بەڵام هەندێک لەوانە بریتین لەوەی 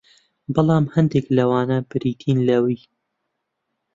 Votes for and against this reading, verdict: 1, 2, rejected